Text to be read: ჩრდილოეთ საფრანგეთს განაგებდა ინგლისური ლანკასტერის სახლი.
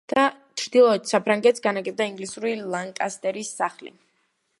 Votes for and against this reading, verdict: 1, 2, rejected